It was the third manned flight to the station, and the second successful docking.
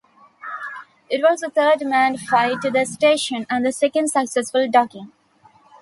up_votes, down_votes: 2, 1